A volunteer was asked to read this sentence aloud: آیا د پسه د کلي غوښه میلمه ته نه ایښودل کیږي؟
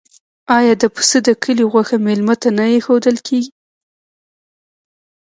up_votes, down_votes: 0, 2